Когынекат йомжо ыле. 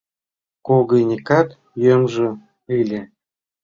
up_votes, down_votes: 2, 1